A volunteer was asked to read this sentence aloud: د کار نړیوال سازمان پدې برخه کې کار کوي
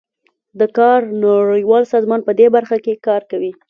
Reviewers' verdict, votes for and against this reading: accepted, 2, 0